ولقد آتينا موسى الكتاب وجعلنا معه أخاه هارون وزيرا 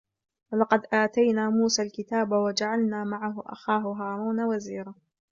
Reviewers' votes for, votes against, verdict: 2, 0, accepted